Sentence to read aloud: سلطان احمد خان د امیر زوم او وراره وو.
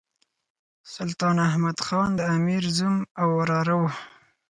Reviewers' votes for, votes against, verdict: 4, 0, accepted